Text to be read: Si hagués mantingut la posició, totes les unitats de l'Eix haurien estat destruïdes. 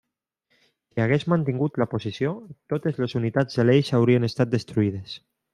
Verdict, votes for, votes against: accepted, 2, 1